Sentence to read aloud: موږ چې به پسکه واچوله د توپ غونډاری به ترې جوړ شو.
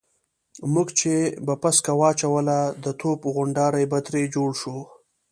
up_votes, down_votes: 2, 0